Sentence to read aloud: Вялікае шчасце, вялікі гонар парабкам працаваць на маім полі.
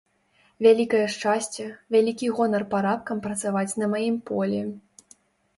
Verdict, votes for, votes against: rejected, 1, 2